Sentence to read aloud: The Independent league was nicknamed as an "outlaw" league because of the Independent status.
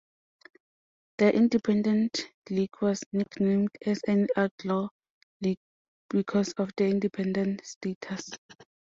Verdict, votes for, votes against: rejected, 1, 2